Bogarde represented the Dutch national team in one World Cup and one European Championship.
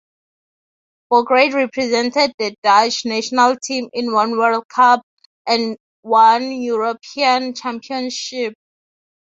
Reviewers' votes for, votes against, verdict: 3, 3, rejected